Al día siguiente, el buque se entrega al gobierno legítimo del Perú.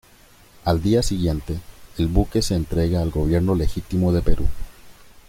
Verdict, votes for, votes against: rejected, 1, 2